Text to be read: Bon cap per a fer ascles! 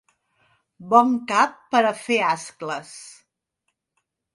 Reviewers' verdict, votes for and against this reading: accepted, 2, 0